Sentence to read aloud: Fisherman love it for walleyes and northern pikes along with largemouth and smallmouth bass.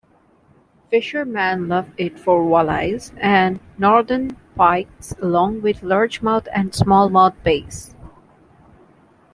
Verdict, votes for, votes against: rejected, 1, 2